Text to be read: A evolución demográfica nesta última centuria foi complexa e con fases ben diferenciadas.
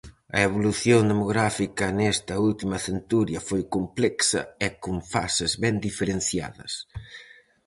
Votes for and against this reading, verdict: 4, 0, accepted